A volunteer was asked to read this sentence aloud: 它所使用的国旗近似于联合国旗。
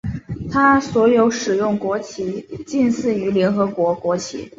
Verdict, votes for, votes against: rejected, 1, 2